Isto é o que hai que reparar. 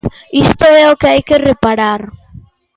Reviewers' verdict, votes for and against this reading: accepted, 2, 0